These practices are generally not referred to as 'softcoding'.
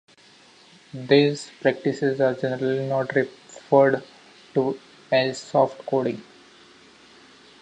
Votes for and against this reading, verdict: 1, 2, rejected